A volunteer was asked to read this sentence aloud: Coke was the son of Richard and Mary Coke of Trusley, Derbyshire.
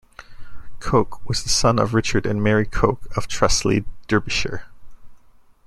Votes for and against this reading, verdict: 2, 0, accepted